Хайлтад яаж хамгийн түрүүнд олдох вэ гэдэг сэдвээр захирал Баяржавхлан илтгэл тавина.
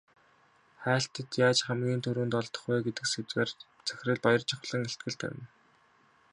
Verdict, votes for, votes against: accepted, 2, 0